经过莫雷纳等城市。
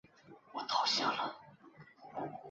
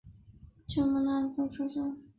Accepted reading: second